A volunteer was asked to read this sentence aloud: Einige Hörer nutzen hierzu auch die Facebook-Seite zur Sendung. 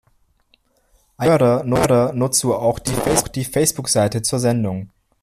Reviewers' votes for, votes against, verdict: 0, 2, rejected